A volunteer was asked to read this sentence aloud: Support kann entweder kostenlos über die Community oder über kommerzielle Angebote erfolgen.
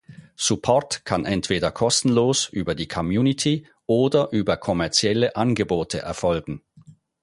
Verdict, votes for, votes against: rejected, 2, 4